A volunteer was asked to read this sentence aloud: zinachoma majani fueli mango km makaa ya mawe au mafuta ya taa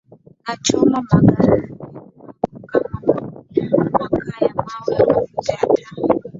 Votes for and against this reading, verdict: 1, 3, rejected